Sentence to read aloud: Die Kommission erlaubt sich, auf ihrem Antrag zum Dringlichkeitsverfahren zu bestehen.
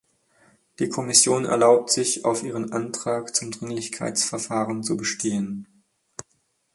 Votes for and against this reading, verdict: 4, 0, accepted